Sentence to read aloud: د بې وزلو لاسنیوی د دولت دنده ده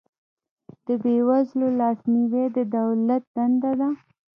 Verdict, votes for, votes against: accepted, 2, 0